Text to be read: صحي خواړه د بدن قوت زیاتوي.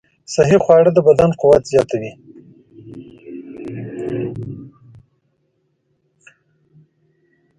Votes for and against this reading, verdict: 1, 2, rejected